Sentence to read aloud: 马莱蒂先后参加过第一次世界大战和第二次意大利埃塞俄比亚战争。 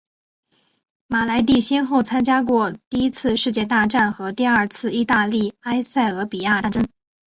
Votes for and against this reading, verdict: 2, 1, accepted